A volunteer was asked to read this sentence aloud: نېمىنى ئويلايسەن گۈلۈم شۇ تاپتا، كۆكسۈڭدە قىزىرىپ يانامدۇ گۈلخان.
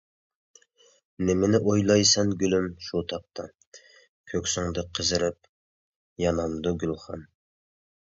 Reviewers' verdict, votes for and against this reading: accepted, 2, 0